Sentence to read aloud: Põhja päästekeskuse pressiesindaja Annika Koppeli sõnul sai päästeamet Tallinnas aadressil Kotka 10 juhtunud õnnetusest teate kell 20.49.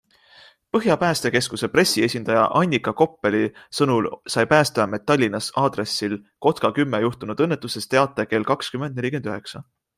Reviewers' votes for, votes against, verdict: 0, 2, rejected